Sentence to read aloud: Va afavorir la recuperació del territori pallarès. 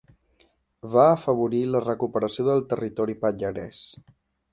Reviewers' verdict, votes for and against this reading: accepted, 2, 0